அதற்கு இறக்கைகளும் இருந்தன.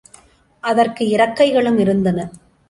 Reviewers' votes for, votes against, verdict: 2, 0, accepted